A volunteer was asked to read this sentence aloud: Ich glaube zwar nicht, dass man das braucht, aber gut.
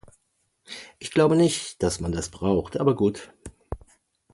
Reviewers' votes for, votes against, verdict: 0, 2, rejected